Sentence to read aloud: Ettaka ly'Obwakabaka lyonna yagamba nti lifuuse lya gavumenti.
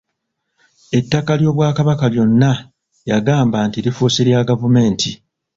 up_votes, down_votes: 2, 0